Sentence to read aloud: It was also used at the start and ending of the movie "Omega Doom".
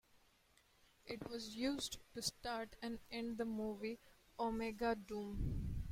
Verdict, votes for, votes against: rejected, 1, 2